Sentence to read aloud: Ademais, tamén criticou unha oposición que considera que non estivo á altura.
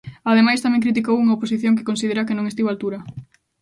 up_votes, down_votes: 2, 0